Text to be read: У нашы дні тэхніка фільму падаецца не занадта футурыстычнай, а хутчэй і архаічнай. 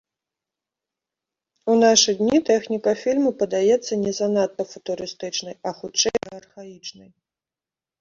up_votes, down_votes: 4, 0